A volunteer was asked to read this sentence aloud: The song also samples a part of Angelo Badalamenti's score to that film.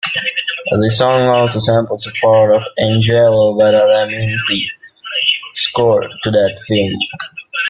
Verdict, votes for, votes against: rejected, 1, 2